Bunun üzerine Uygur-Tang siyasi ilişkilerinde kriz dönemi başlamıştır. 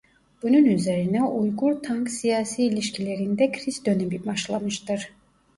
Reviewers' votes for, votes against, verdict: 0, 2, rejected